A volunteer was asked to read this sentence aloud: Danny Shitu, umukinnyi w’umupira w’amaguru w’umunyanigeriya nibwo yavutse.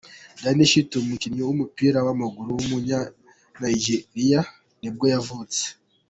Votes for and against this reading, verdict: 0, 2, rejected